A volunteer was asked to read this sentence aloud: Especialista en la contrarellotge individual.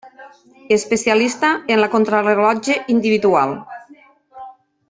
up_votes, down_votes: 0, 2